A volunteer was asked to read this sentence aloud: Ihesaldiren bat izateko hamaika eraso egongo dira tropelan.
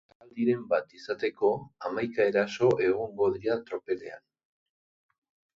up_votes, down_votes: 0, 2